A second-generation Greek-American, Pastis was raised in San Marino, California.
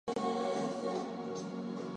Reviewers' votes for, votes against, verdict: 2, 4, rejected